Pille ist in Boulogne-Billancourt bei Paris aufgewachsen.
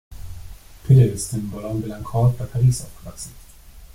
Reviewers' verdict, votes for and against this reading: rejected, 0, 2